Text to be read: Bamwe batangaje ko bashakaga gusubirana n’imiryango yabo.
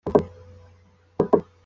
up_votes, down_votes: 0, 2